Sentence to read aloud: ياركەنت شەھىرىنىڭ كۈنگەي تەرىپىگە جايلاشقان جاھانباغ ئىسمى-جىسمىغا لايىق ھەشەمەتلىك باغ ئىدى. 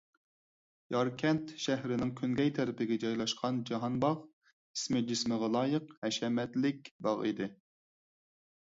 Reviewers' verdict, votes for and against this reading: accepted, 4, 0